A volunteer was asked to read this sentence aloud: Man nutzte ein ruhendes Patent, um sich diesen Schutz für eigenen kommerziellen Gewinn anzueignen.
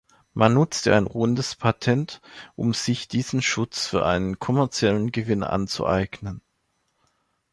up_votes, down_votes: 1, 2